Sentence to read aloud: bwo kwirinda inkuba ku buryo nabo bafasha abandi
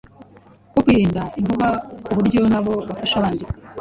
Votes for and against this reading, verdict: 1, 2, rejected